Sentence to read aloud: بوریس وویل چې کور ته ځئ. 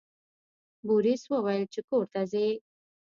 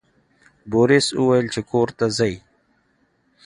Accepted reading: second